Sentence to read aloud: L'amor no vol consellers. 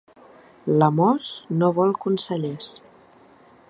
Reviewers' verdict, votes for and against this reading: rejected, 1, 2